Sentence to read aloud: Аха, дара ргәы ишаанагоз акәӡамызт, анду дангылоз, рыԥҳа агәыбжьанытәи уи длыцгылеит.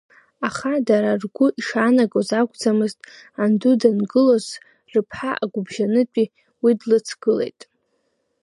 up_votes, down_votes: 0, 2